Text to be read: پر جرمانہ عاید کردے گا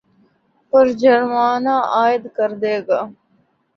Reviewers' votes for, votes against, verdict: 1, 2, rejected